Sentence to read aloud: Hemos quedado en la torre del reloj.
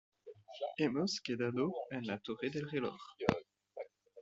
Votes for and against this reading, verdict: 2, 0, accepted